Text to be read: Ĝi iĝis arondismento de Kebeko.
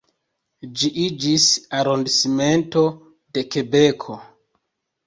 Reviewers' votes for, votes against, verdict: 1, 2, rejected